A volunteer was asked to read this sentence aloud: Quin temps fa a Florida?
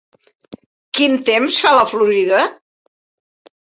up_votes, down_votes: 0, 2